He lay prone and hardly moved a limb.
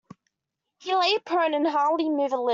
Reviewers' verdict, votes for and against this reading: rejected, 0, 2